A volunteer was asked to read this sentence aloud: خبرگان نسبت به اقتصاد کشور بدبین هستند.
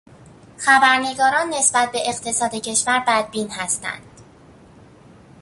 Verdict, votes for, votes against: rejected, 0, 2